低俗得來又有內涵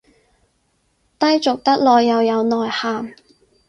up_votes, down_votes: 4, 0